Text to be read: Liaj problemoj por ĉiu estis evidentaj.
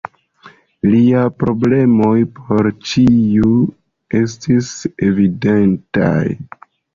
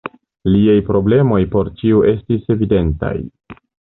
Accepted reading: second